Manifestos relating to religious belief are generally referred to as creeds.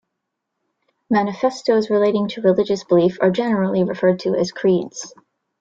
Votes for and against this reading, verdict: 0, 2, rejected